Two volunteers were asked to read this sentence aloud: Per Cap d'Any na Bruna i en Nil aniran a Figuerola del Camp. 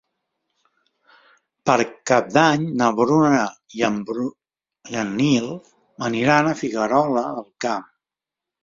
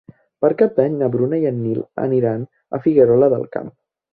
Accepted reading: second